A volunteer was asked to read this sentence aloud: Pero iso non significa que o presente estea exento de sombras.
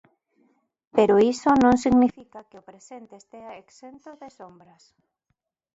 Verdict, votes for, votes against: rejected, 1, 2